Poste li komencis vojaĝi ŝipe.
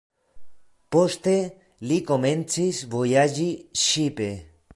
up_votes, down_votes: 1, 2